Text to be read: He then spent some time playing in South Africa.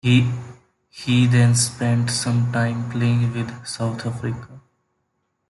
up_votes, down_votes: 2, 1